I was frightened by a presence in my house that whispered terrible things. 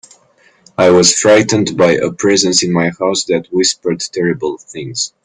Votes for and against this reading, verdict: 2, 0, accepted